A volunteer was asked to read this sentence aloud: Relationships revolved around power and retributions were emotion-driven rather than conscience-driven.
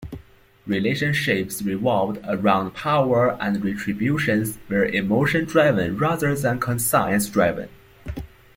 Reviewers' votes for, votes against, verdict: 0, 2, rejected